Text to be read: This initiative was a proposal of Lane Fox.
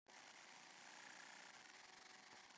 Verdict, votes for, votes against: rejected, 0, 2